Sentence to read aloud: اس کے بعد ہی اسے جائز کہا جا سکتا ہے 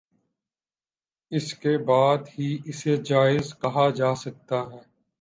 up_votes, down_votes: 0, 2